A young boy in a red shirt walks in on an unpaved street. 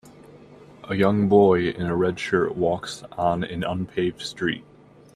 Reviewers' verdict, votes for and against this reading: rejected, 1, 2